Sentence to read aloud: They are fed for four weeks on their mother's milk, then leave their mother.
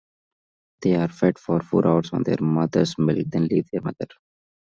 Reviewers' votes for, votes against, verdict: 0, 2, rejected